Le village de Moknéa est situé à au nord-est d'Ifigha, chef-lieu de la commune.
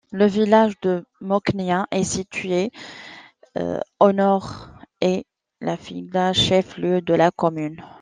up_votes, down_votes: 0, 2